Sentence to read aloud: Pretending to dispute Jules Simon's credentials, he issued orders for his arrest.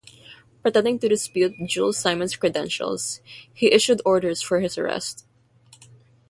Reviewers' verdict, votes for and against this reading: accepted, 3, 0